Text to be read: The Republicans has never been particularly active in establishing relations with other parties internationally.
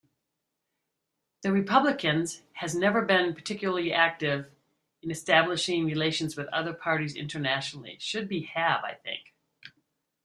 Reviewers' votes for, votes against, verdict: 0, 2, rejected